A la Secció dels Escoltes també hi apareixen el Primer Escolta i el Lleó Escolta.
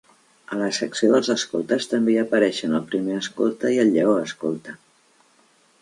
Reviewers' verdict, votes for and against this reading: accepted, 2, 0